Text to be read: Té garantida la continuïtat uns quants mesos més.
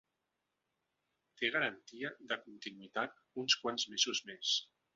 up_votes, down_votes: 1, 2